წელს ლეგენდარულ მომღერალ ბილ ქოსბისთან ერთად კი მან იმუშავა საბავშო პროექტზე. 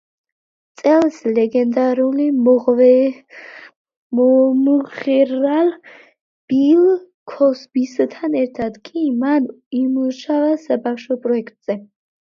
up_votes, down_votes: 1, 2